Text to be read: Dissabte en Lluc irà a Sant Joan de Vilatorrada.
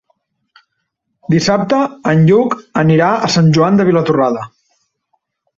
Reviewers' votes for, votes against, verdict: 0, 2, rejected